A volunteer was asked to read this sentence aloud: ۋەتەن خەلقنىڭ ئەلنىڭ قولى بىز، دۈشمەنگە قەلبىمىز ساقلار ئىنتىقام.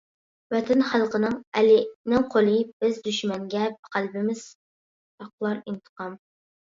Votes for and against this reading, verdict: 0, 2, rejected